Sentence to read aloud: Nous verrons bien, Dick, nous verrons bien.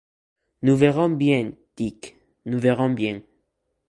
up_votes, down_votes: 2, 0